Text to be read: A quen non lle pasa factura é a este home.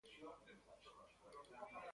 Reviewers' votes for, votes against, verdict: 0, 2, rejected